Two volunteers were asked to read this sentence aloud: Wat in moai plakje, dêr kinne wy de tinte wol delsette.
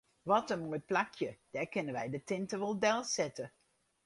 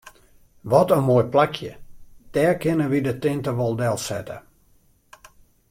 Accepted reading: second